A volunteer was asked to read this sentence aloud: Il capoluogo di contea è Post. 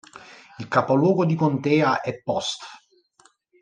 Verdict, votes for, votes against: accepted, 3, 0